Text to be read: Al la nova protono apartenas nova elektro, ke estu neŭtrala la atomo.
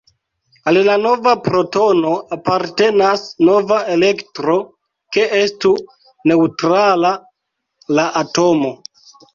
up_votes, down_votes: 2, 0